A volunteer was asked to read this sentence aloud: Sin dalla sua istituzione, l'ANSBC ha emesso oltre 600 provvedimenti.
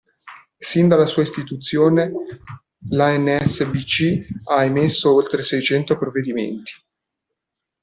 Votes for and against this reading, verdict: 0, 2, rejected